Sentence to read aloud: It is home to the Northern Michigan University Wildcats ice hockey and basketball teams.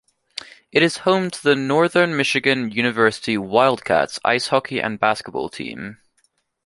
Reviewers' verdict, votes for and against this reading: rejected, 1, 2